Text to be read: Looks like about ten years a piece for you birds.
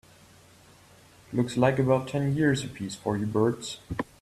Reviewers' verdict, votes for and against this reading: accepted, 2, 0